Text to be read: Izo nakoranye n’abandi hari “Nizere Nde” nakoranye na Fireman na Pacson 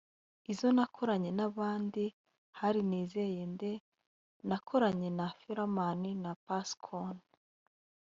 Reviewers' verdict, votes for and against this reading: rejected, 1, 2